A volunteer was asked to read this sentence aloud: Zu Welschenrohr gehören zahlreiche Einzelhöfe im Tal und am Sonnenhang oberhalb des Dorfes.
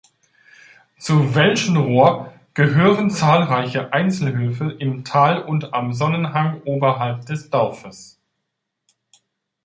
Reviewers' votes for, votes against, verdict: 2, 0, accepted